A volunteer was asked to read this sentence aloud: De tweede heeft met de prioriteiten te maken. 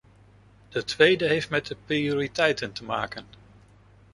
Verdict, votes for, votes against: accepted, 2, 0